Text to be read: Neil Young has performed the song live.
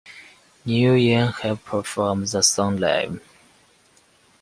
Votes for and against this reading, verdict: 2, 0, accepted